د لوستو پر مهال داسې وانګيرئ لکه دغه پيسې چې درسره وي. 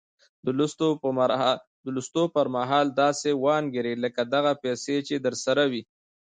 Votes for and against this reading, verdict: 1, 2, rejected